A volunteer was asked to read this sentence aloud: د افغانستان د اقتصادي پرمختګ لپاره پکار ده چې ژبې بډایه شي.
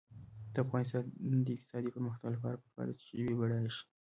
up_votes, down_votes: 2, 1